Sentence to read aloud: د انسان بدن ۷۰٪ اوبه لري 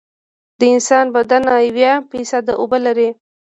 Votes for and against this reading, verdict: 0, 2, rejected